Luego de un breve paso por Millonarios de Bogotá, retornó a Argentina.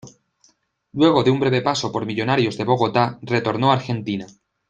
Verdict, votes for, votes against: accepted, 2, 0